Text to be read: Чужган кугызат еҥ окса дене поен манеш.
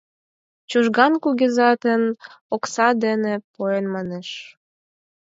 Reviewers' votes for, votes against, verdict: 4, 0, accepted